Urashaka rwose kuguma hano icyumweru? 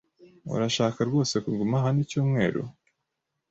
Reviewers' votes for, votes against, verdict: 2, 0, accepted